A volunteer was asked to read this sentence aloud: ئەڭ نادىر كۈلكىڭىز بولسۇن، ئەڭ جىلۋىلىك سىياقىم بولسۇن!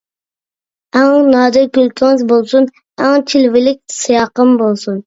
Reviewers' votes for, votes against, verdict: 1, 2, rejected